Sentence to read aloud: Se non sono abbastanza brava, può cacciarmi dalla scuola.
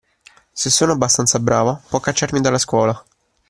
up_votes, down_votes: 2, 1